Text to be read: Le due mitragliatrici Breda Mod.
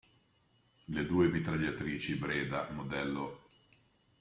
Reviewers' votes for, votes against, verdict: 0, 2, rejected